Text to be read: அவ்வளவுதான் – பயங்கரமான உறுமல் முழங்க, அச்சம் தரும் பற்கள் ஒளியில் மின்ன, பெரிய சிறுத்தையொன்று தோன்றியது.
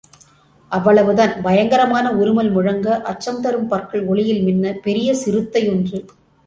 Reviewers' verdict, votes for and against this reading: rejected, 0, 2